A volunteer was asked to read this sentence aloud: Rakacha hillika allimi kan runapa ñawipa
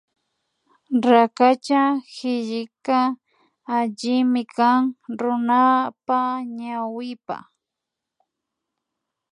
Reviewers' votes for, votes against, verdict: 1, 2, rejected